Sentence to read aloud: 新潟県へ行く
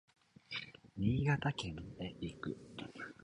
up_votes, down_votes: 2, 1